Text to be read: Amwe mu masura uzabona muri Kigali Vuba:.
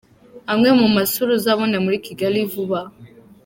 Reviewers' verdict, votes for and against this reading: accepted, 2, 0